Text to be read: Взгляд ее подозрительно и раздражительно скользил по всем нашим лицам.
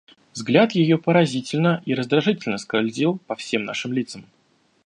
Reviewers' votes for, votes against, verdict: 0, 2, rejected